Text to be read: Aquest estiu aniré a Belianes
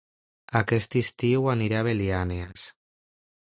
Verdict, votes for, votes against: rejected, 1, 2